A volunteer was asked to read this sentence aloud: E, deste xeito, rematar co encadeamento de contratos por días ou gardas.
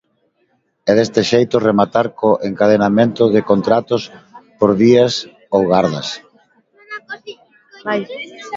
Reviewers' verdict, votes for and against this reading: rejected, 1, 2